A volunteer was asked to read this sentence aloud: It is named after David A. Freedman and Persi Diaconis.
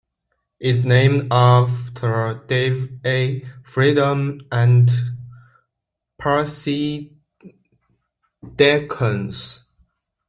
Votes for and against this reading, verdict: 0, 2, rejected